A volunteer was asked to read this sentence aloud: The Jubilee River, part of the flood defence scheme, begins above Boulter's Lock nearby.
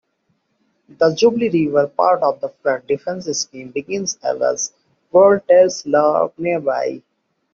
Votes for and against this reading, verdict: 0, 2, rejected